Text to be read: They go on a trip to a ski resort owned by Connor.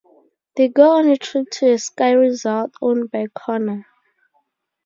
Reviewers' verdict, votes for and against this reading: accepted, 2, 0